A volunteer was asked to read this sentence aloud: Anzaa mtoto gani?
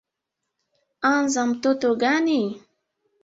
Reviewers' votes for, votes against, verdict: 0, 2, rejected